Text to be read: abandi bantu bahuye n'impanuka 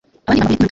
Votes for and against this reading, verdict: 0, 2, rejected